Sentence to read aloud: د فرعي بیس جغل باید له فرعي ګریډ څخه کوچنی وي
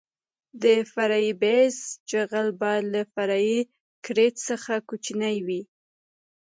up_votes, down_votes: 2, 1